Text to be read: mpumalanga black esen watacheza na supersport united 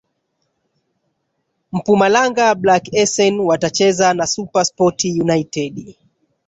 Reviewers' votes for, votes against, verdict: 1, 2, rejected